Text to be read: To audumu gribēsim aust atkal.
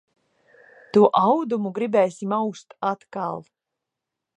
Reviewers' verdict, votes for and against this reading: rejected, 1, 2